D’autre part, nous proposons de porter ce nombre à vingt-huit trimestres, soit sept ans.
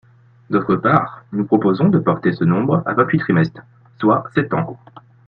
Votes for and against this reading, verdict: 3, 1, accepted